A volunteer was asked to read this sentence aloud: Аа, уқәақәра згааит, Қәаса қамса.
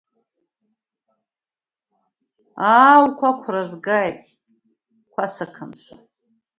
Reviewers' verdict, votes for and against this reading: accepted, 2, 0